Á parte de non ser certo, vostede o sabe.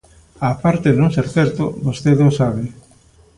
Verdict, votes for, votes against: accepted, 2, 0